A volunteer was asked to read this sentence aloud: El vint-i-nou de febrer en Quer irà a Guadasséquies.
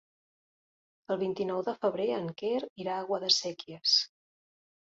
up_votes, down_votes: 3, 0